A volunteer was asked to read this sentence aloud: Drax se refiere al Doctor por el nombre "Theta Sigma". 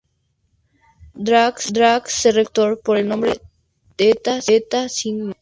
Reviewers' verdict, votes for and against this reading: rejected, 0, 2